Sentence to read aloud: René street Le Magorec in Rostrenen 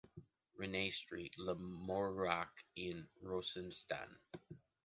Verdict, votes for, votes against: rejected, 0, 2